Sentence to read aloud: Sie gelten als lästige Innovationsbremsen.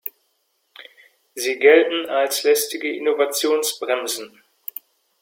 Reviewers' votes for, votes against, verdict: 2, 1, accepted